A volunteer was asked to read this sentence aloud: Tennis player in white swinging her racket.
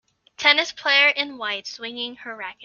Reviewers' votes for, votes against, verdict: 3, 0, accepted